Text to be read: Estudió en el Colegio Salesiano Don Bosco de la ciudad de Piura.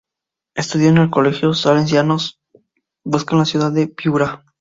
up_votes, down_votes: 4, 0